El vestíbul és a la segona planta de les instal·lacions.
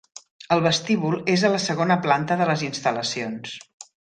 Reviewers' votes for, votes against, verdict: 3, 1, accepted